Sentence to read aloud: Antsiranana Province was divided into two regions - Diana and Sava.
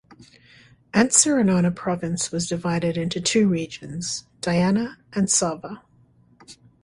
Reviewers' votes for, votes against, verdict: 2, 0, accepted